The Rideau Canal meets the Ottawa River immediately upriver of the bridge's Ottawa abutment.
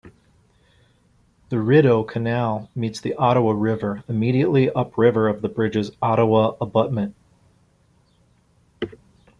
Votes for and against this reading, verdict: 2, 0, accepted